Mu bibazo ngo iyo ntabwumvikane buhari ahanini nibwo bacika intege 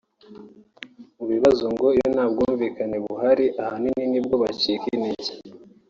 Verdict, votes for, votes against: rejected, 1, 2